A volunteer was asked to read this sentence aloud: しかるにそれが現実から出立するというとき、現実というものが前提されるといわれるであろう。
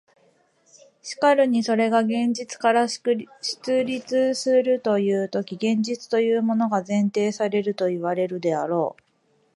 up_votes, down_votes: 0, 2